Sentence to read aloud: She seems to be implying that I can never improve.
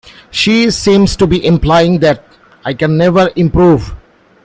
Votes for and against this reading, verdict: 2, 0, accepted